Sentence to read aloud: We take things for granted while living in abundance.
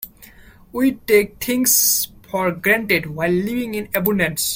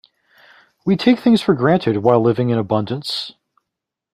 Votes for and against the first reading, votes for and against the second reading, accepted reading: 0, 2, 2, 0, second